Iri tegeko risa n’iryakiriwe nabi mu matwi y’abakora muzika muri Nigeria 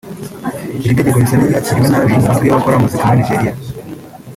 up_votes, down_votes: 2, 3